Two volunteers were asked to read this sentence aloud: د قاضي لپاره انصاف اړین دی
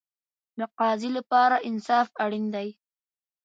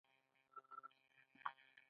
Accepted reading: first